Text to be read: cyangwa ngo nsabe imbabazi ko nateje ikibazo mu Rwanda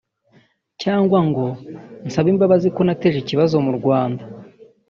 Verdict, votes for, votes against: rejected, 1, 2